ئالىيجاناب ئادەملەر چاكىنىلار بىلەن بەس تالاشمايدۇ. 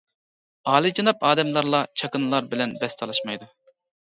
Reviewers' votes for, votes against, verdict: 0, 2, rejected